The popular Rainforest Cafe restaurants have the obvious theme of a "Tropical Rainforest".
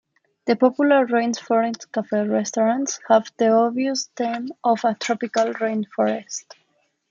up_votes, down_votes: 2, 1